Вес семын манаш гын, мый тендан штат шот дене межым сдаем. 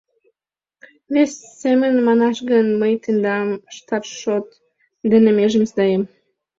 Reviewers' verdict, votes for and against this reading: rejected, 1, 2